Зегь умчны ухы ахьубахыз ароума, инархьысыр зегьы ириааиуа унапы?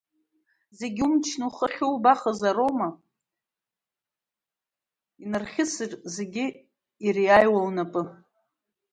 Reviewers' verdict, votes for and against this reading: rejected, 1, 2